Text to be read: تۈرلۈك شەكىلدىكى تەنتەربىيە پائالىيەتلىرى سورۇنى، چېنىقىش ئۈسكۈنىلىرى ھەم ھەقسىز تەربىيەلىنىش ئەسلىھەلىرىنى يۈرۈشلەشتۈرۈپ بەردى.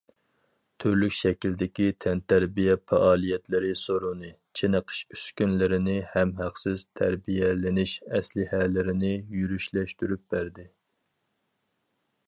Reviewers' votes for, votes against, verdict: 2, 2, rejected